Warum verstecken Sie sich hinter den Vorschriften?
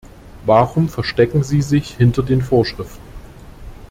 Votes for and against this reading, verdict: 2, 0, accepted